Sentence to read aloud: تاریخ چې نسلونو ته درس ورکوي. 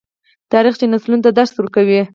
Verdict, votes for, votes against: accepted, 4, 2